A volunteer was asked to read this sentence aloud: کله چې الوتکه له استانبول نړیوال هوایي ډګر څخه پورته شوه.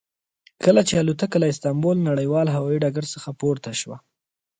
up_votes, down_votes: 1, 2